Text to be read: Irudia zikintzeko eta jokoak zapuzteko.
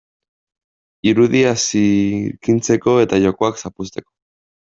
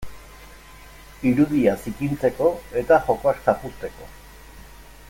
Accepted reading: second